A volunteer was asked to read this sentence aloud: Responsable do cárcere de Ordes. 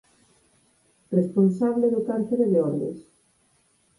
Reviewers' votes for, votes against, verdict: 4, 0, accepted